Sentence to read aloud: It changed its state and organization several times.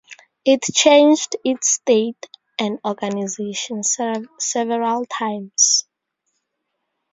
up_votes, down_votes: 0, 2